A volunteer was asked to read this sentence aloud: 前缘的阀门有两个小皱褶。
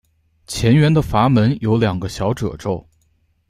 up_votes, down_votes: 0, 2